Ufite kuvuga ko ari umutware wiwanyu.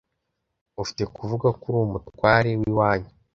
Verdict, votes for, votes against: rejected, 1, 2